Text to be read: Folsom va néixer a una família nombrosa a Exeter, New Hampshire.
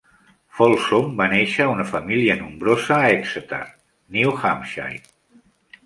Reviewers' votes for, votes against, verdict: 2, 0, accepted